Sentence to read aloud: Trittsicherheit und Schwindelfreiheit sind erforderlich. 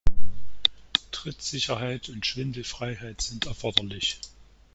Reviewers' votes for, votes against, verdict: 1, 2, rejected